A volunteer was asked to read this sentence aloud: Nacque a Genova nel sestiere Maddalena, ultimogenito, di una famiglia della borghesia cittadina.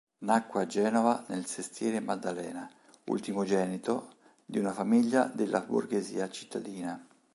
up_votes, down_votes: 2, 0